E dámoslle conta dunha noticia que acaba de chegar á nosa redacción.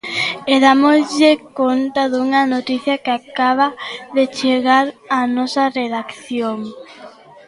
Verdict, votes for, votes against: accepted, 2, 1